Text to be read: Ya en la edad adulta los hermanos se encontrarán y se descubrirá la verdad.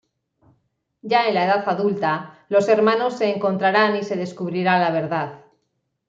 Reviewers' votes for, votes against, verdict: 2, 1, accepted